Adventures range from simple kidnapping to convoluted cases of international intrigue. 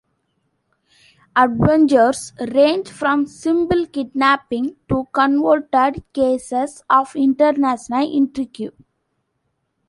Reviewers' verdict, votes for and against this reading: accepted, 2, 1